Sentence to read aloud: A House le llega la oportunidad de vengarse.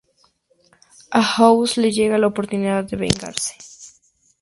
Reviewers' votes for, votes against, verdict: 4, 0, accepted